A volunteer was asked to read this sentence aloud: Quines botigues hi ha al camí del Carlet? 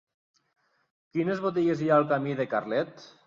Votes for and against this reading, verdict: 2, 3, rejected